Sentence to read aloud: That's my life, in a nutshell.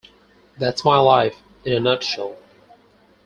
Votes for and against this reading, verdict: 2, 6, rejected